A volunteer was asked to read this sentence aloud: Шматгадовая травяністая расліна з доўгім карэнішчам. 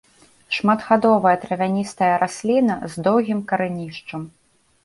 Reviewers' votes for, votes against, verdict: 2, 1, accepted